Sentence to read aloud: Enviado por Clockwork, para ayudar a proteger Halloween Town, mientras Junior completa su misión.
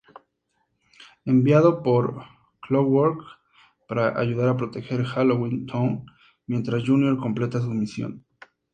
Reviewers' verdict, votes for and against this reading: accepted, 2, 0